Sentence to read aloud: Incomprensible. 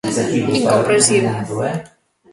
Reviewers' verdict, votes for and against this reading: rejected, 0, 2